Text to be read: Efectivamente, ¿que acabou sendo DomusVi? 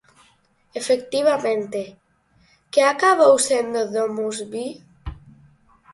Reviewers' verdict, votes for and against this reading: accepted, 4, 0